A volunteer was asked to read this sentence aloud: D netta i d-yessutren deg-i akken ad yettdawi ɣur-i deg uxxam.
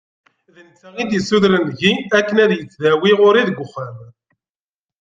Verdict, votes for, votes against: rejected, 1, 2